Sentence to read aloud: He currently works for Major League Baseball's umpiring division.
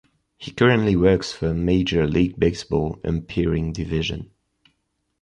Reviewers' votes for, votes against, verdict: 0, 2, rejected